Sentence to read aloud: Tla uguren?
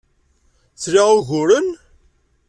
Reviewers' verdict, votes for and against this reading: accepted, 2, 0